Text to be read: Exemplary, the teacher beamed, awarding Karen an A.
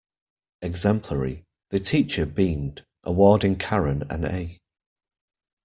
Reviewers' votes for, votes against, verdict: 2, 0, accepted